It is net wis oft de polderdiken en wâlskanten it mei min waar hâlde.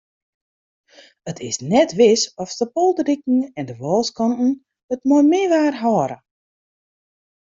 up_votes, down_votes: 1, 2